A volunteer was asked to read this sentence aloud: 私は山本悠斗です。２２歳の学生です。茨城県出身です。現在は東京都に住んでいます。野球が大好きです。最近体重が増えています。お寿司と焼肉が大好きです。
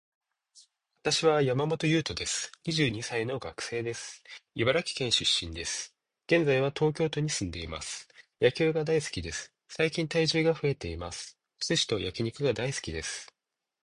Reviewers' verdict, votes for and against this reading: rejected, 0, 2